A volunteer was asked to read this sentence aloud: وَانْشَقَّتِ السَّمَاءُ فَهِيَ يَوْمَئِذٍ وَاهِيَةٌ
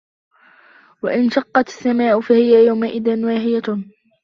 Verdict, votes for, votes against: accepted, 2, 1